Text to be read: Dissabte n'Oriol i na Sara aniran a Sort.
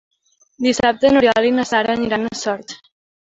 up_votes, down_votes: 2, 0